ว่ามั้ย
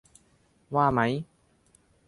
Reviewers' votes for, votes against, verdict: 3, 0, accepted